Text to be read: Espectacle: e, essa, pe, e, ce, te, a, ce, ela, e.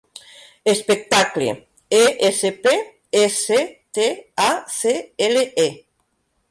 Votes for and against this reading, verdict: 2, 1, accepted